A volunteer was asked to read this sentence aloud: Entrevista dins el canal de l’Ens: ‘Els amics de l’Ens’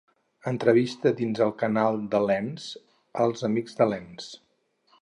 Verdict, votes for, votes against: accepted, 2, 0